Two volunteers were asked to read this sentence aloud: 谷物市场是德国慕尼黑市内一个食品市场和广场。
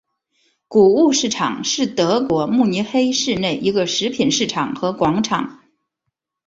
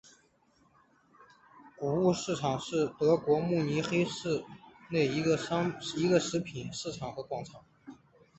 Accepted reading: first